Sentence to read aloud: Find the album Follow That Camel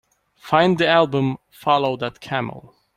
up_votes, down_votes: 2, 0